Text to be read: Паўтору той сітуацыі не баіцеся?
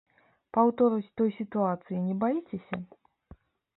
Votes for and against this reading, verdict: 1, 2, rejected